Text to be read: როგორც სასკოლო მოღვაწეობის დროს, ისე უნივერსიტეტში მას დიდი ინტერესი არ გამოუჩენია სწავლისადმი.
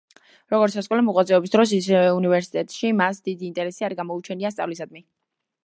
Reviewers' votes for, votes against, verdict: 1, 2, rejected